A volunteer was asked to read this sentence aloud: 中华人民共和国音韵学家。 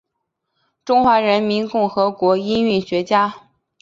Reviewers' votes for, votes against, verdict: 2, 0, accepted